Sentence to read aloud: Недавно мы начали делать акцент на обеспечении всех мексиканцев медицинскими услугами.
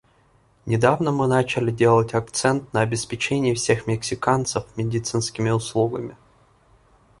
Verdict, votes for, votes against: accepted, 2, 0